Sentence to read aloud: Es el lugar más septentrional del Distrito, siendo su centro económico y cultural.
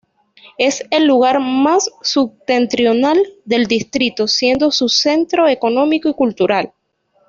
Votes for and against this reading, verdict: 1, 2, rejected